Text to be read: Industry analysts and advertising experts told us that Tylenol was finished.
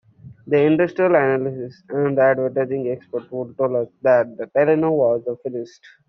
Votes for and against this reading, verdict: 1, 2, rejected